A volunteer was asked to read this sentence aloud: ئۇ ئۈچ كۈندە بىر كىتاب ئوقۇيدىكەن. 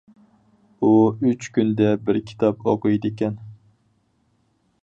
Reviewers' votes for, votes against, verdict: 4, 0, accepted